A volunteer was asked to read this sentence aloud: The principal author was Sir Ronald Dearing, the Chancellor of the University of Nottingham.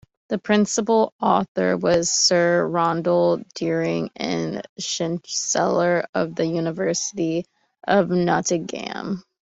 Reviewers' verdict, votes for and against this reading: rejected, 1, 2